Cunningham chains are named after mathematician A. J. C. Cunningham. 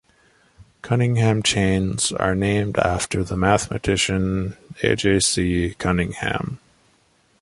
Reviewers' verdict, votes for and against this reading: rejected, 0, 2